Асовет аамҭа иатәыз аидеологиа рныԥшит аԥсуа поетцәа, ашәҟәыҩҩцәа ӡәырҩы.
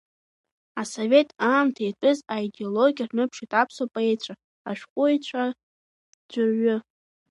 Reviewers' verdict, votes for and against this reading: rejected, 0, 2